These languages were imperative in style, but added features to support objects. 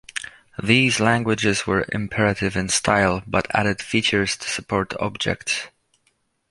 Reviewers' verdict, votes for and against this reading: accepted, 2, 0